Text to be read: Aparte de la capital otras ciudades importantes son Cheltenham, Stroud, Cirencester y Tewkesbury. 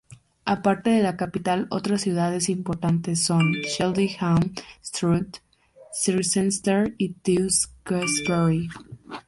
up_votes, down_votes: 0, 2